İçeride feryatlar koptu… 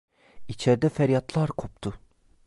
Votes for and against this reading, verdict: 0, 2, rejected